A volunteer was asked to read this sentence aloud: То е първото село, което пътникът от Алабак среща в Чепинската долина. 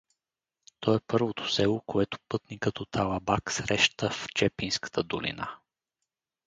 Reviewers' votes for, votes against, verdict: 4, 0, accepted